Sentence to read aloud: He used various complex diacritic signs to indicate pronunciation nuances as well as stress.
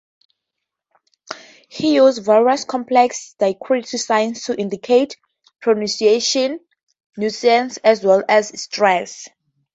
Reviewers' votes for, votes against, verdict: 0, 2, rejected